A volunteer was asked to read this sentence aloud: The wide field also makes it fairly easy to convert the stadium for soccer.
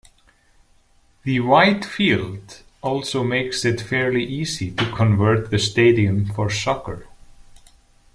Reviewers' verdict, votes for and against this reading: rejected, 1, 2